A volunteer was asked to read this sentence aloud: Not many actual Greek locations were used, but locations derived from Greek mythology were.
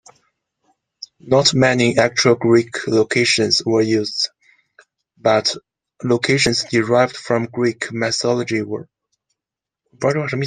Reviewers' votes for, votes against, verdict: 0, 2, rejected